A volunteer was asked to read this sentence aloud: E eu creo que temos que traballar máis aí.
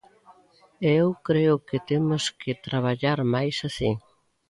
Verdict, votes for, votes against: rejected, 0, 2